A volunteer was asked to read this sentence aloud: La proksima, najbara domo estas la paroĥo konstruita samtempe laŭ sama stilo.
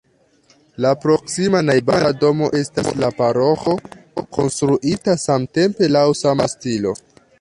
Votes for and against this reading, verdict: 0, 2, rejected